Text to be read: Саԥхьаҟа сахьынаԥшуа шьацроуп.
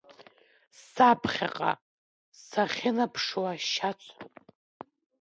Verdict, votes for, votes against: rejected, 1, 2